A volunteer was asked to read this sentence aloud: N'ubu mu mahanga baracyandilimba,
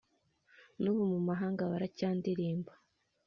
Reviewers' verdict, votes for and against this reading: accepted, 3, 0